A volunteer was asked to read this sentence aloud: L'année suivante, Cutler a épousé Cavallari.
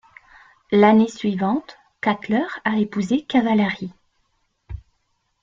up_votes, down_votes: 2, 0